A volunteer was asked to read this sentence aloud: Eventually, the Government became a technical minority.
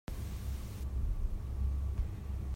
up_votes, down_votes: 0, 2